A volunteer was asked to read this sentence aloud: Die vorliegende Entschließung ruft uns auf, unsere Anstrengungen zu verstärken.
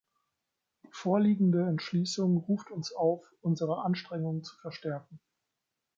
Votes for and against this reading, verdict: 1, 2, rejected